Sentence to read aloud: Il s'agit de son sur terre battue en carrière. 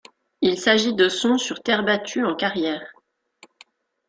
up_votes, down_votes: 1, 2